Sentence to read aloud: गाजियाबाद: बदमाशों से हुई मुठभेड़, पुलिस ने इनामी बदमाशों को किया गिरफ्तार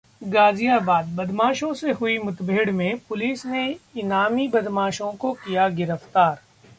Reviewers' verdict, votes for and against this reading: rejected, 1, 2